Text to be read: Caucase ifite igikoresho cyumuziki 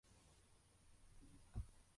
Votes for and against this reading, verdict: 0, 2, rejected